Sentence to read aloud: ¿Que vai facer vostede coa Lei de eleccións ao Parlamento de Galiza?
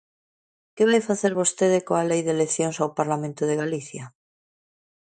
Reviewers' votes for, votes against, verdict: 2, 1, accepted